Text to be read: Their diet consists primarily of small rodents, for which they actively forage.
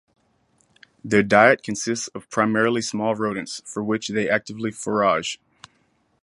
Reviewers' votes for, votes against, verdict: 0, 2, rejected